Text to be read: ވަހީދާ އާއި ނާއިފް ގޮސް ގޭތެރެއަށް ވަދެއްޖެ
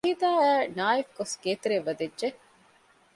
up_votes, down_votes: 0, 2